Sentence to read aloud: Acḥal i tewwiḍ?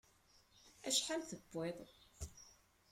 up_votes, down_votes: 2, 1